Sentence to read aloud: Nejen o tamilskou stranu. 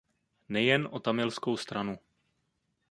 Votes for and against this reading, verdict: 2, 0, accepted